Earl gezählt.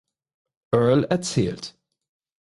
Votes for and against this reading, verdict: 0, 4, rejected